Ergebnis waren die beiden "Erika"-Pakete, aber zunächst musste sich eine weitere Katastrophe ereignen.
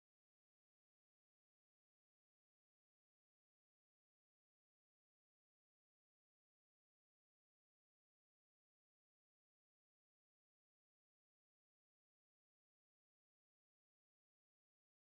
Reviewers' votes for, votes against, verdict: 0, 2, rejected